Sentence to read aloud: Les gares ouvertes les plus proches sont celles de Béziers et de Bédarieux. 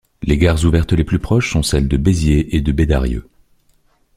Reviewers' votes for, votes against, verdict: 2, 0, accepted